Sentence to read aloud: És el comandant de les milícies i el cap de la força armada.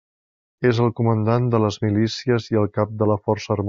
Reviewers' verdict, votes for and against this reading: rejected, 0, 2